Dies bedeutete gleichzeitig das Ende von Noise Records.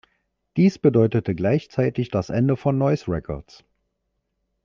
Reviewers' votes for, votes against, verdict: 2, 0, accepted